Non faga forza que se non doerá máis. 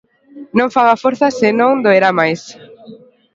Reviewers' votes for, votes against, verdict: 0, 2, rejected